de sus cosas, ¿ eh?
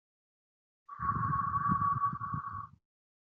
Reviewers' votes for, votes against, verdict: 0, 2, rejected